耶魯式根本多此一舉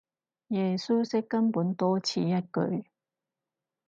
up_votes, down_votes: 0, 4